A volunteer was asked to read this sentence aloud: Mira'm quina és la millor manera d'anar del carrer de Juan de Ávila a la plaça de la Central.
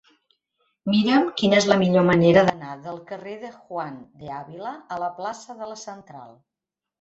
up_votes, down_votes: 3, 1